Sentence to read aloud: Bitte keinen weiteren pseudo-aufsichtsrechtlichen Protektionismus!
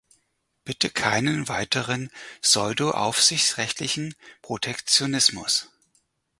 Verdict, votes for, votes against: accepted, 4, 0